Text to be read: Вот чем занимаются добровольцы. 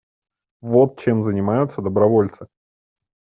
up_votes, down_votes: 2, 0